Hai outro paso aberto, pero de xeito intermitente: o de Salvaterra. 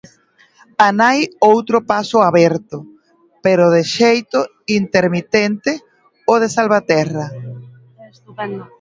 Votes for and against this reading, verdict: 0, 2, rejected